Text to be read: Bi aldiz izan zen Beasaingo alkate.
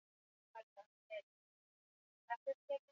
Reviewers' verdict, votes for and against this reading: rejected, 0, 2